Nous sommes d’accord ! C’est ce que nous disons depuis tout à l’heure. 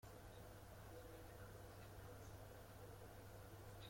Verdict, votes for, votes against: rejected, 0, 2